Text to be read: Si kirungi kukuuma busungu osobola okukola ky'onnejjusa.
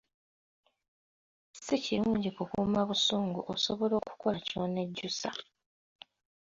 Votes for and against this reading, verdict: 2, 1, accepted